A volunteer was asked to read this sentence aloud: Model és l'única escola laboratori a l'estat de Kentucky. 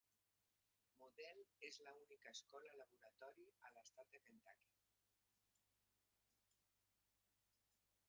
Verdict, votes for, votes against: rejected, 1, 2